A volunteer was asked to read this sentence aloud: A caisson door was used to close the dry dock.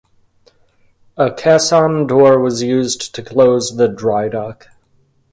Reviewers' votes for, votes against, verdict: 2, 0, accepted